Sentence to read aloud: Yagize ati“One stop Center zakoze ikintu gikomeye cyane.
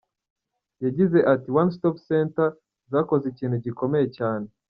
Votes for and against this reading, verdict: 1, 2, rejected